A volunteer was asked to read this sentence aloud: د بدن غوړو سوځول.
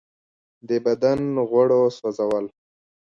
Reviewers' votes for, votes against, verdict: 1, 2, rejected